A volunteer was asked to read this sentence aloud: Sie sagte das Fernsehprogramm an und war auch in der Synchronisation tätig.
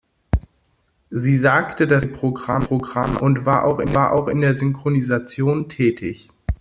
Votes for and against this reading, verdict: 1, 2, rejected